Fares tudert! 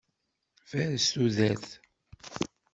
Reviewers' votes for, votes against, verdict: 2, 1, accepted